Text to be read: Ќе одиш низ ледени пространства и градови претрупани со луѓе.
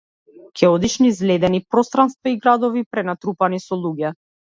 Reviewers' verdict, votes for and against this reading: rejected, 1, 2